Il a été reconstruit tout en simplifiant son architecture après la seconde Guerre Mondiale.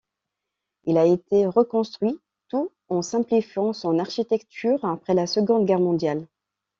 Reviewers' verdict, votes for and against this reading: accepted, 2, 0